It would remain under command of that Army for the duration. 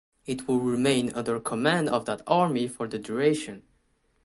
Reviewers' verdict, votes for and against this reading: rejected, 1, 2